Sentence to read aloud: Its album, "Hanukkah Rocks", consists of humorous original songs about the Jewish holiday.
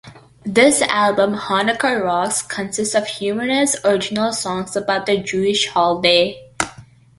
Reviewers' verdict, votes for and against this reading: rejected, 1, 2